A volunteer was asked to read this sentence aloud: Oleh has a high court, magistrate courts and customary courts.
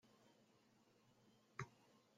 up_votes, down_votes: 0, 2